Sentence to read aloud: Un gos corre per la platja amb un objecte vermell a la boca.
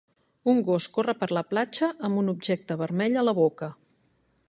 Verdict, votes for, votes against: accepted, 3, 1